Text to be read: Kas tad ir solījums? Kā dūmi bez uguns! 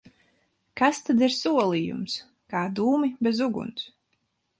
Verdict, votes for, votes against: accepted, 4, 0